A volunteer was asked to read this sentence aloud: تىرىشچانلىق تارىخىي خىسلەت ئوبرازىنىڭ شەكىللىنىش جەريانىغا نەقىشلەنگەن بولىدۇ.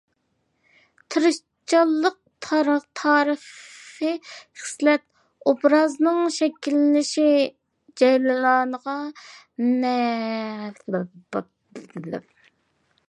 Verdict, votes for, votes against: rejected, 0, 2